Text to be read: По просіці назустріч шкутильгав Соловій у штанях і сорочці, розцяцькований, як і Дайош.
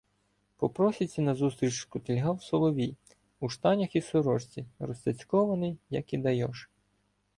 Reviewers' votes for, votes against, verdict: 2, 0, accepted